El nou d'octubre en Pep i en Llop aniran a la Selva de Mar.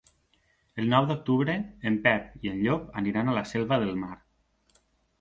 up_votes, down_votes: 0, 2